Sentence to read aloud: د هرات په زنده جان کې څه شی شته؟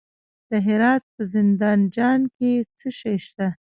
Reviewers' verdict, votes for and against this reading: rejected, 0, 2